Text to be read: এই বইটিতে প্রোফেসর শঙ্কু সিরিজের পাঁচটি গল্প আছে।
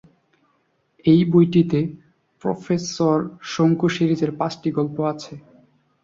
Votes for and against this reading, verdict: 3, 0, accepted